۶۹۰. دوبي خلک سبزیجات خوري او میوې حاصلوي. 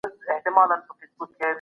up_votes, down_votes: 0, 2